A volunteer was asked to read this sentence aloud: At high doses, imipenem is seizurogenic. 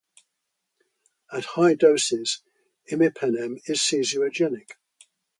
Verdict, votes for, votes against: accepted, 2, 0